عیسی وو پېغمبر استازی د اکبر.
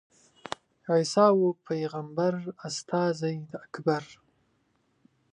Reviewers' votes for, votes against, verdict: 2, 0, accepted